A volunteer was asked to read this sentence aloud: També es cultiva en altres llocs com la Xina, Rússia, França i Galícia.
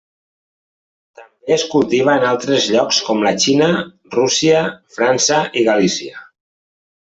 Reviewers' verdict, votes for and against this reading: rejected, 0, 2